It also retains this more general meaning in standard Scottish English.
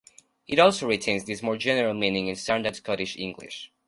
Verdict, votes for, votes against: accepted, 2, 0